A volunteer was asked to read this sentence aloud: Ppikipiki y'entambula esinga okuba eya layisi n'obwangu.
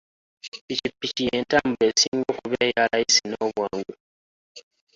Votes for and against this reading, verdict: 0, 2, rejected